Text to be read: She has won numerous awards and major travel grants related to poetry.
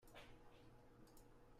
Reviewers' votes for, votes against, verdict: 0, 2, rejected